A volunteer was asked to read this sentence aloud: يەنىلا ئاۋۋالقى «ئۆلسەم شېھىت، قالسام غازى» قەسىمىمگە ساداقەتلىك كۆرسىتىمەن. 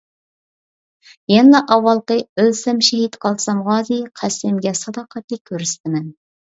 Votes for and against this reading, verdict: 0, 2, rejected